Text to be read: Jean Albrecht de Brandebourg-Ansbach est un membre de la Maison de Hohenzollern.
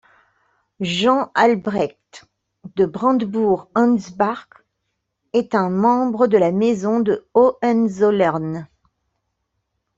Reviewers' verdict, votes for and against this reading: accepted, 2, 0